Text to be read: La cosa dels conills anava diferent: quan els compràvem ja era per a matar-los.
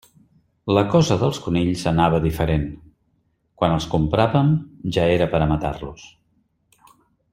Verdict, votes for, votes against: accepted, 3, 1